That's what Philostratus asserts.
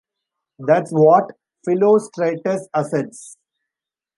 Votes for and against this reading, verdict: 1, 2, rejected